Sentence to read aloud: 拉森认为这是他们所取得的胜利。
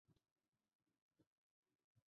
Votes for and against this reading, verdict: 1, 2, rejected